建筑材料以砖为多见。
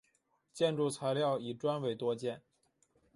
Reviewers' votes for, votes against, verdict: 3, 0, accepted